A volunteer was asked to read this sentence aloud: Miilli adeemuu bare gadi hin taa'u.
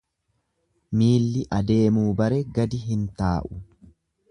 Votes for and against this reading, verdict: 2, 0, accepted